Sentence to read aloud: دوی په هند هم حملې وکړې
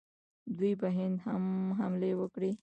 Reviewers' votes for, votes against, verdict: 2, 1, accepted